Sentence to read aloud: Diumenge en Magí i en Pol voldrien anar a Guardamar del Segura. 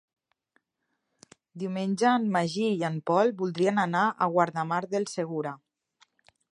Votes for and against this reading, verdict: 3, 0, accepted